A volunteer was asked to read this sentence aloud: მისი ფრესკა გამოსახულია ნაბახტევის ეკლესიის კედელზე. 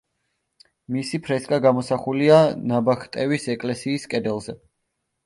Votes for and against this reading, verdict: 2, 0, accepted